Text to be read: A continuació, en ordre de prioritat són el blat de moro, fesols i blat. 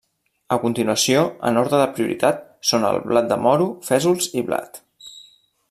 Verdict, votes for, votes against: rejected, 1, 2